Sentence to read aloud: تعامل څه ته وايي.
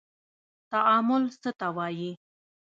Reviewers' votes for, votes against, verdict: 1, 2, rejected